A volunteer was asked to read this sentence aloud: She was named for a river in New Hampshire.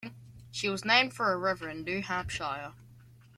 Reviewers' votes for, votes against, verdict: 1, 2, rejected